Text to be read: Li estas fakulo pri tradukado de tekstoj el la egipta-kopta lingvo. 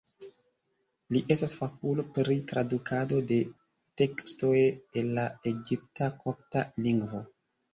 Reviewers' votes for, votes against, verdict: 0, 2, rejected